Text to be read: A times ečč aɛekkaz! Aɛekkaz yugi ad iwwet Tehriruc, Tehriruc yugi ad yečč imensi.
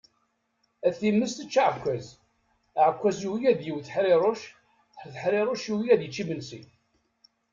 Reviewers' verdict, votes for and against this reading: rejected, 1, 2